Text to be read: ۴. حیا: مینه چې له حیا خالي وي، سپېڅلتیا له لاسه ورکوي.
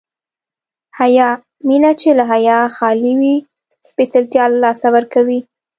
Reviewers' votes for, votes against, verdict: 0, 2, rejected